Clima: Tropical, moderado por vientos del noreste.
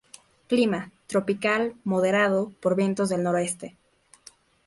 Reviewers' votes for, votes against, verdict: 0, 2, rejected